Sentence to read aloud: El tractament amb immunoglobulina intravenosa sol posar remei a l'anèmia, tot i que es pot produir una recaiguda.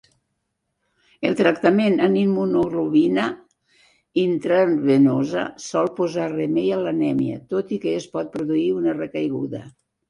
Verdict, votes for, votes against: rejected, 1, 2